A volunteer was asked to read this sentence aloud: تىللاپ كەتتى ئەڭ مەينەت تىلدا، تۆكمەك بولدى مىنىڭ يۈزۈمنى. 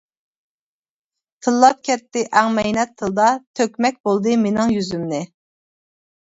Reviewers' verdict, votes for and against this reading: accepted, 2, 0